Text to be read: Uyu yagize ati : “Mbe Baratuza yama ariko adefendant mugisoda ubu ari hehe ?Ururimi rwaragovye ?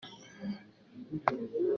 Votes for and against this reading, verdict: 0, 2, rejected